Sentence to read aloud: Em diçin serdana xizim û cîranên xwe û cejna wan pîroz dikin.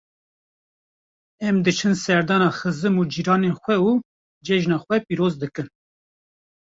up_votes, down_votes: 0, 2